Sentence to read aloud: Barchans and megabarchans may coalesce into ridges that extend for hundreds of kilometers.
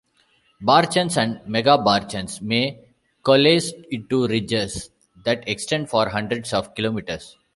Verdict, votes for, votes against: rejected, 0, 2